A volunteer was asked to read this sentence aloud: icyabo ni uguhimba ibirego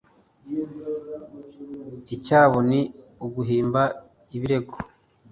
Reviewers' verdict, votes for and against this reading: accepted, 2, 0